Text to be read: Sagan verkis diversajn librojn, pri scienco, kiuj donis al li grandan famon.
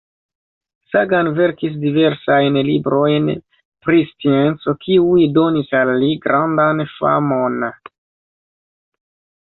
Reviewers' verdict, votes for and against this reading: accepted, 2, 1